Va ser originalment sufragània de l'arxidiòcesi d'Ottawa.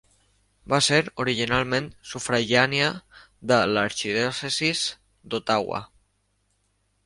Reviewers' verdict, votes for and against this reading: rejected, 0, 2